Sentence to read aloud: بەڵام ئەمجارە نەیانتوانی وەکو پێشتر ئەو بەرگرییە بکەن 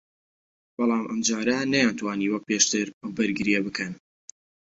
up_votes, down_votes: 2, 0